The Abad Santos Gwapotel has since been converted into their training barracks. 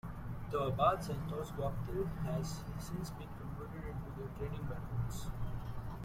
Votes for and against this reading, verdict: 0, 3, rejected